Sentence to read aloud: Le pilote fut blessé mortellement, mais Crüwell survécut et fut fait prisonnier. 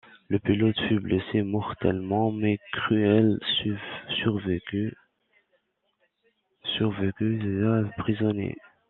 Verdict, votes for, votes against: rejected, 0, 2